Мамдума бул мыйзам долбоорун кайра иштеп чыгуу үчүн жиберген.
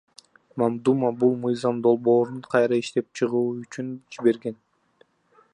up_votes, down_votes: 0, 2